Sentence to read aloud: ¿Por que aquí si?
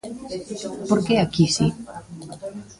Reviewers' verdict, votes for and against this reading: rejected, 0, 2